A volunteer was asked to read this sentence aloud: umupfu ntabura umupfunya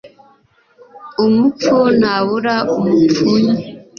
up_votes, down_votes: 2, 0